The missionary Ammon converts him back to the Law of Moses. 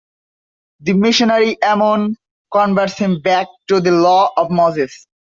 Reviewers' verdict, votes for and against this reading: accepted, 2, 0